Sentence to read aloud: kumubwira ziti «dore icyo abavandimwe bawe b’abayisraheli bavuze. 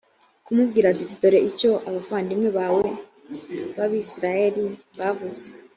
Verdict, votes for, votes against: accepted, 2, 0